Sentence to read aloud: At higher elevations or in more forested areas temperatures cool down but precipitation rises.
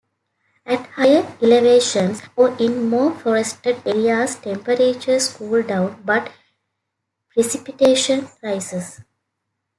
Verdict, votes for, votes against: accepted, 2, 0